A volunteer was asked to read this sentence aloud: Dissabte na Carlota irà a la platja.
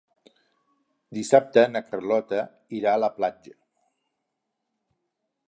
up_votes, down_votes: 4, 0